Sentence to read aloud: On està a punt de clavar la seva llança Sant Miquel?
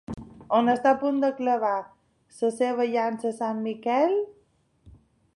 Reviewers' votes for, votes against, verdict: 2, 1, accepted